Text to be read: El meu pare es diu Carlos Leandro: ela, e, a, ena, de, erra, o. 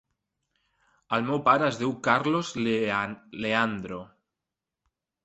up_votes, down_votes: 0, 2